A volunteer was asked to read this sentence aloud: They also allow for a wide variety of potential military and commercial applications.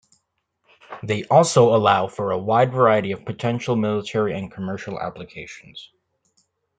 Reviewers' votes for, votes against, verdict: 2, 0, accepted